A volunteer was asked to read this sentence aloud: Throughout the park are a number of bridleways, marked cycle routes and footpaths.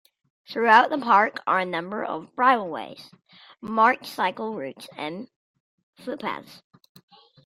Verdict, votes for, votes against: accepted, 2, 0